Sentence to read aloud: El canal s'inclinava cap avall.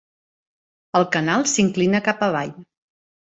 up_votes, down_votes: 0, 2